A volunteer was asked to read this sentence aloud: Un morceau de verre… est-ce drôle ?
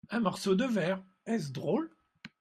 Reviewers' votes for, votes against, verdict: 2, 0, accepted